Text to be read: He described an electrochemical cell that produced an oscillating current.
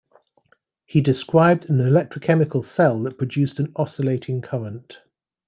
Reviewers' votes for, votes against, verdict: 2, 0, accepted